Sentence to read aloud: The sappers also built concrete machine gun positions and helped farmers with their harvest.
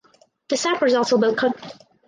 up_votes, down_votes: 0, 2